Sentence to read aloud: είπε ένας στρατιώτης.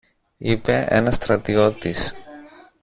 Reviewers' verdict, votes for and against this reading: accepted, 2, 0